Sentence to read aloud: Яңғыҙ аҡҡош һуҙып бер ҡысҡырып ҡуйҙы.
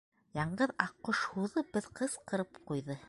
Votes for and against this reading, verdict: 4, 3, accepted